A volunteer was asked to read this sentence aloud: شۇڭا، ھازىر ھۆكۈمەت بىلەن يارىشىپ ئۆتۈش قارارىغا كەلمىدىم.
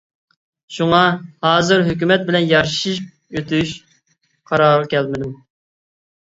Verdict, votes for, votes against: rejected, 1, 2